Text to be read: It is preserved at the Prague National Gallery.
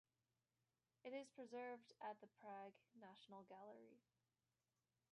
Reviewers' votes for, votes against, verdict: 1, 2, rejected